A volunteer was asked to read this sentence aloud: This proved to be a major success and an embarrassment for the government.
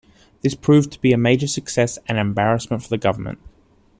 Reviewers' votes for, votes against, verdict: 2, 1, accepted